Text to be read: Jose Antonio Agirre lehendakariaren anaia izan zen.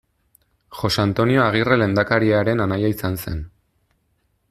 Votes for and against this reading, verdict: 2, 0, accepted